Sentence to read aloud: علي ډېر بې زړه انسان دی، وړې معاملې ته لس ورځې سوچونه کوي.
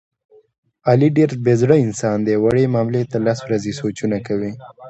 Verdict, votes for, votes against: accepted, 2, 0